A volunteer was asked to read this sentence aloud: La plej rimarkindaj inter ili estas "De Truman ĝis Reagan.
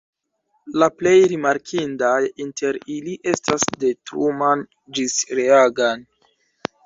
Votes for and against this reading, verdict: 1, 2, rejected